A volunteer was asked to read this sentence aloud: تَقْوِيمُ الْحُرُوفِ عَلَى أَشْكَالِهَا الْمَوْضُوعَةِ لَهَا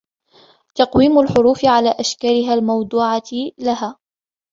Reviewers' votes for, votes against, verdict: 2, 0, accepted